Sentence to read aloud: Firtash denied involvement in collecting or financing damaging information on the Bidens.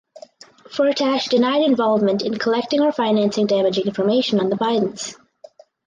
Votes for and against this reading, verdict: 6, 0, accepted